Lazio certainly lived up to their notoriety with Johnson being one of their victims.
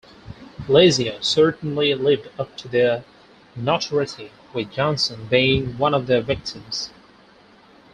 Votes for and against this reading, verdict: 0, 4, rejected